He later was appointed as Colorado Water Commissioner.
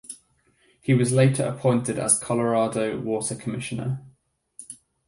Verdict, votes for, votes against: accepted, 4, 0